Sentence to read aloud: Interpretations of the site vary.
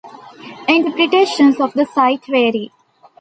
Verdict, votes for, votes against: accepted, 2, 0